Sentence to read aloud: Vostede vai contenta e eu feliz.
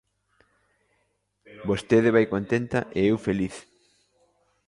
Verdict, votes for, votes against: accepted, 2, 0